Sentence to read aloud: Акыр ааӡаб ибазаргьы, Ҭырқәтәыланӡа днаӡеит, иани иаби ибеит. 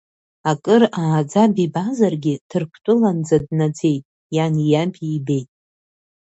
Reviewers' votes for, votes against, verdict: 2, 1, accepted